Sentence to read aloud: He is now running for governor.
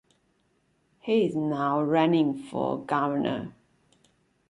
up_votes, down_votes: 2, 0